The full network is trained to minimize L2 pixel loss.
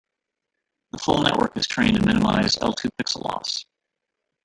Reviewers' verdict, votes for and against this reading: rejected, 0, 2